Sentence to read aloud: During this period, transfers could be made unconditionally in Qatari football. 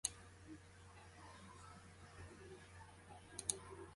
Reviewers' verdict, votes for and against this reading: rejected, 0, 2